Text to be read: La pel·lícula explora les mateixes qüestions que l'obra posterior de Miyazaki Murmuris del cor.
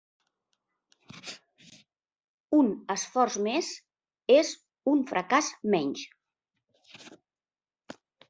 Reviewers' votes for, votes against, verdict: 0, 2, rejected